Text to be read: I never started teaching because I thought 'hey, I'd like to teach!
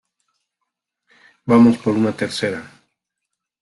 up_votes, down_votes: 1, 2